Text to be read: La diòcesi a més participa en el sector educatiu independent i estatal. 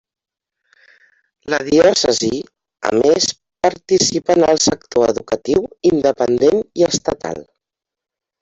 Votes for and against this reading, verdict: 0, 2, rejected